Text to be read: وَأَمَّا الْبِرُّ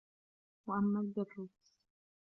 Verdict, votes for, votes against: rejected, 2, 3